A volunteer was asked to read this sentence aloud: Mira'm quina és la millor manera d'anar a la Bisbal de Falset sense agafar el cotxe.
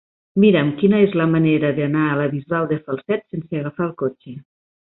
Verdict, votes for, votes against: rejected, 2, 3